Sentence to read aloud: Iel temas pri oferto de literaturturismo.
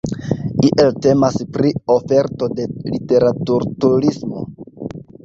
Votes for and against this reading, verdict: 2, 0, accepted